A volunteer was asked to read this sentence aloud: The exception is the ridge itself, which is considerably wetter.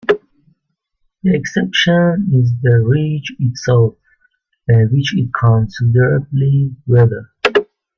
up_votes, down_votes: 0, 2